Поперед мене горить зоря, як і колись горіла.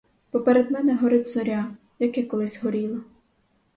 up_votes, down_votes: 4, 0